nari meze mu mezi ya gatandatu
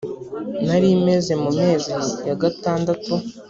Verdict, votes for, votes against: accepted, 2, 0